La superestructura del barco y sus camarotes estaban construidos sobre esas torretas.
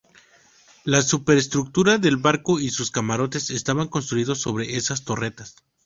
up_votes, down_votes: 2, 0